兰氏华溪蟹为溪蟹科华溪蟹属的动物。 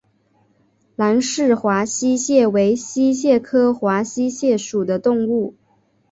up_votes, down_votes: 1, 2